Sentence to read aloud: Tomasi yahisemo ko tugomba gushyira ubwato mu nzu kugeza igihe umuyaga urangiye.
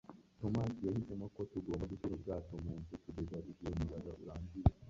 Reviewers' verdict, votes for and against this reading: rejected, 1, 2